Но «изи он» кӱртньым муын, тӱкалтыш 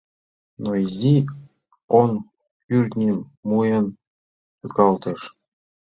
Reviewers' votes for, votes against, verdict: 1, 2, rejected